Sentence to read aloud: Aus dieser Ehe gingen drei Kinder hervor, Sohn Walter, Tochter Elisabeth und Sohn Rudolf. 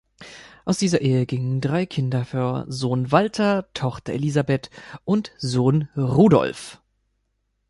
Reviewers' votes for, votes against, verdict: 1, 2, rejected